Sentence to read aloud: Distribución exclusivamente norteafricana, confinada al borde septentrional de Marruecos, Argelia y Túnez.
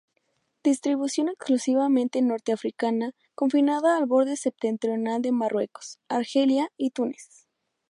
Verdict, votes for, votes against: accepted, 2, 0